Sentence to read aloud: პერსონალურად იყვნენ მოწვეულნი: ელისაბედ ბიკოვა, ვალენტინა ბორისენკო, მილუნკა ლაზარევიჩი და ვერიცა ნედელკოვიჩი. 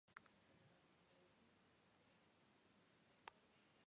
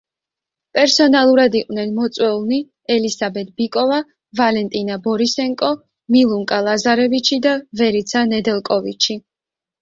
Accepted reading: second